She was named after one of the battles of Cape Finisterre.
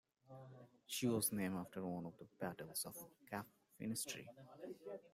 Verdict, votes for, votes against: rejected, 1, 2